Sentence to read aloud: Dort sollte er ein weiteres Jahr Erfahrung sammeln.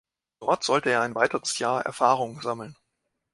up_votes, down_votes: 2, 0